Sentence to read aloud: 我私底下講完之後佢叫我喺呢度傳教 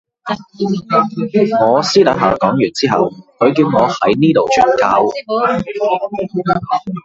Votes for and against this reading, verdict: 0, 2, rejected